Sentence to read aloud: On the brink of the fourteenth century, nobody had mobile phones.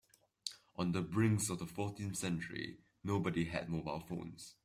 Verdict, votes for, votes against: rejected, 1, 2